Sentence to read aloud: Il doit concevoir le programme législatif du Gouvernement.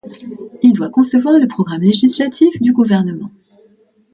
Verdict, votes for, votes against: accepted, 2, 0